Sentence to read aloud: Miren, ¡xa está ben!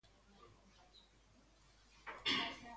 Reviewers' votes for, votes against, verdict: 0, 2, rejected